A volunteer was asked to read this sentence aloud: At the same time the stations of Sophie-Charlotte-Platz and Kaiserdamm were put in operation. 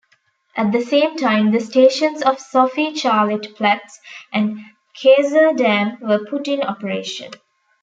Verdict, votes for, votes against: rejected, 0, 2